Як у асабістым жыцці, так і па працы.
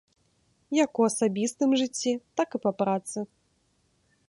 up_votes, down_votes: 2, 0